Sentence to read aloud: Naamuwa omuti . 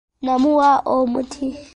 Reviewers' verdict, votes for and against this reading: rejected, 0, 2